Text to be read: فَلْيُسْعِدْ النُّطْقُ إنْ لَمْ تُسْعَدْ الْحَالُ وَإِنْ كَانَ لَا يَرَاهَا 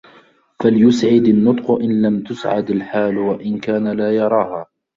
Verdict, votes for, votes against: accepted, 2, 0